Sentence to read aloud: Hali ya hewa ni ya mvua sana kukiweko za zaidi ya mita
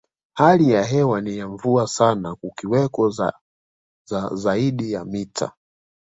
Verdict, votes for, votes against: rejected, 1, 2